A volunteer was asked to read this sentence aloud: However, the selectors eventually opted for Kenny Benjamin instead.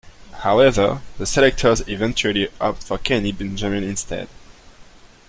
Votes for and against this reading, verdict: 1, 2, rejected